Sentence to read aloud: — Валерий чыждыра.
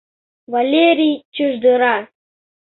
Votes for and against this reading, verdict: 2, 0, accepted